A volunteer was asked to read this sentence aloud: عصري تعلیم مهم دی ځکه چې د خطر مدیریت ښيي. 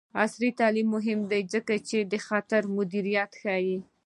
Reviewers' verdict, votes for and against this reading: rejected, 1, 2